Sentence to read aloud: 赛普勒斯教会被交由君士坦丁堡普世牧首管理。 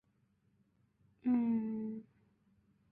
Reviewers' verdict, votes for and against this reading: rejected, 0, 3